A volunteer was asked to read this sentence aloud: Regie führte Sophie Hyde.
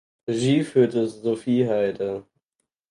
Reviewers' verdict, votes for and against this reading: rejected, 2, 4